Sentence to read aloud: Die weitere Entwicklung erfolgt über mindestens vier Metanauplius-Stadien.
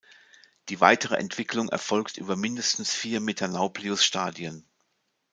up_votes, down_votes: 2, 0